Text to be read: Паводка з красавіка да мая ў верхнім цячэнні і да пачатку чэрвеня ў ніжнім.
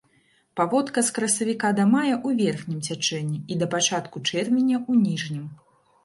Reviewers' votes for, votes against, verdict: 1, 2, rejected